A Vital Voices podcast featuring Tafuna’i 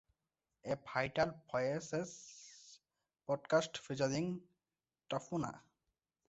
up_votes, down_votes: 2, 0